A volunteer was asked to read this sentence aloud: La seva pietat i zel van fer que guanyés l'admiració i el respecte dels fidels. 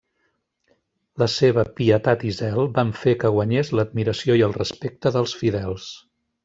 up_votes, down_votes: 3, 1